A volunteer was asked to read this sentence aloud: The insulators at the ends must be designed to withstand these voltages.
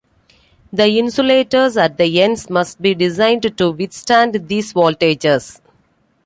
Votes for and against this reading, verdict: 2, 0, accepted